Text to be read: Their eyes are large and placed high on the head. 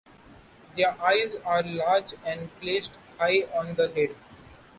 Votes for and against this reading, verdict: 2, 0, accepted